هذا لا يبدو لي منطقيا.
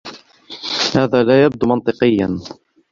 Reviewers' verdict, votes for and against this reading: rejected, 0, 2